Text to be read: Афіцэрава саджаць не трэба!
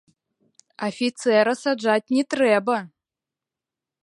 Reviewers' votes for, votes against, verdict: 2, 3, rejected